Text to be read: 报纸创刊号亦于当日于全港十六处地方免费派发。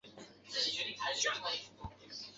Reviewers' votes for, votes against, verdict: 0, 3, rejected